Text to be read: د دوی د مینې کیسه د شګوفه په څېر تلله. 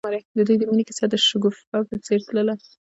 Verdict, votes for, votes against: accepted, 2, 0